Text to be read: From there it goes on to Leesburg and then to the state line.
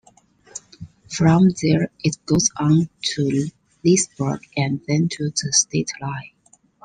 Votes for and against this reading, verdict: 2, 0, accepted